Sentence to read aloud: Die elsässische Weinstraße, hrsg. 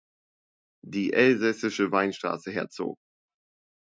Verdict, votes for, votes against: rejected, 0, 3